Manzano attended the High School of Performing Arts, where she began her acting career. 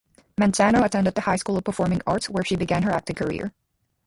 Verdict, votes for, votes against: rejected, 2, 2